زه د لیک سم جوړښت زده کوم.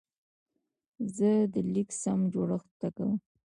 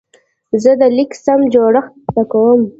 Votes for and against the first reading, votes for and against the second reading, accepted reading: 2, 1, 1, 2, first